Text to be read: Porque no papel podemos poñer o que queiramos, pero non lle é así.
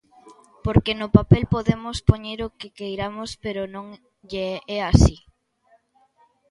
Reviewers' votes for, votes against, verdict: 2, 0, accepted